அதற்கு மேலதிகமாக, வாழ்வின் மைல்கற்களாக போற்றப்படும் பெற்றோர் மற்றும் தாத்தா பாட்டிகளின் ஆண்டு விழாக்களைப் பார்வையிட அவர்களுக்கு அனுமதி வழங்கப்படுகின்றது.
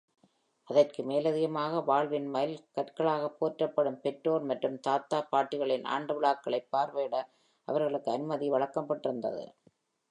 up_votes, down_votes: 1, 2